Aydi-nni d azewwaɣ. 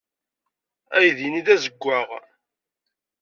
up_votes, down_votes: 2, 0